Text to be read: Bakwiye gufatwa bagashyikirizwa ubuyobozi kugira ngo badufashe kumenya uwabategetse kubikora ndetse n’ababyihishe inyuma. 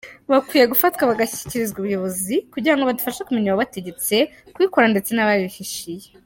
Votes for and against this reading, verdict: 1, 2, rejected